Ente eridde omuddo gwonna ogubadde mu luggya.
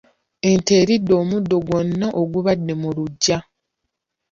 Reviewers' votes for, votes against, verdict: 0, 2, rejected